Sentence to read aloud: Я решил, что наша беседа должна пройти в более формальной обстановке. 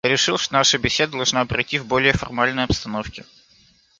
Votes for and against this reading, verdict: 1, 2, rejected